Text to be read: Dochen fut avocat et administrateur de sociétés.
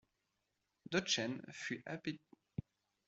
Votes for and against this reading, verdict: 0, 2, rejected